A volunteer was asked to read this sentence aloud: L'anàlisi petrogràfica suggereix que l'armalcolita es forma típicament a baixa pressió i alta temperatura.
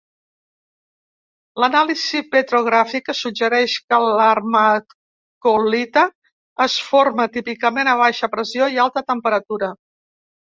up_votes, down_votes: 0, 2